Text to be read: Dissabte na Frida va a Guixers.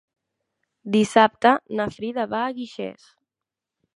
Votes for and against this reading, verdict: 2, 0, accepted